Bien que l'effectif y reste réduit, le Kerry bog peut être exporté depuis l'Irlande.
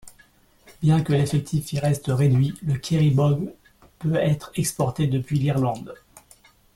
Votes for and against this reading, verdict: 2, 3, rejected